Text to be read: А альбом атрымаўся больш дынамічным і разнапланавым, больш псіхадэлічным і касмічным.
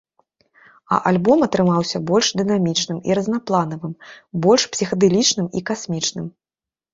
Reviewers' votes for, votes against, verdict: 2, 0, accepted